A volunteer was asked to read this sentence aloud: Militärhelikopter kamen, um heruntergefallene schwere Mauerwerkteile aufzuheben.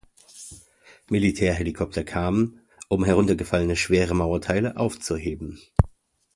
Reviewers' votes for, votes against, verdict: 1, 2, rejected